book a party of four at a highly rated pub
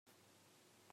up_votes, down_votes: 0, 2